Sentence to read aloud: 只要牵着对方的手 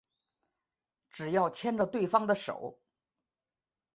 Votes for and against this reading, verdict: 2, 0, accepted